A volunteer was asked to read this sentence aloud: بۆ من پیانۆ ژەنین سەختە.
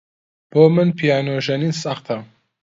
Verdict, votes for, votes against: accepted, 2, 0